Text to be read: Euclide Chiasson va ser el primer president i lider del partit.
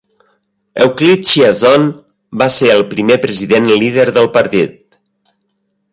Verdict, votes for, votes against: accepted, 3, 0